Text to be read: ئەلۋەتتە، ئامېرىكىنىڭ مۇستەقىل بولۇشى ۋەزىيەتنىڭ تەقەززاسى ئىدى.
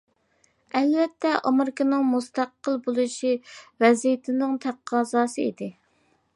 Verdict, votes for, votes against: rejected, 0, 2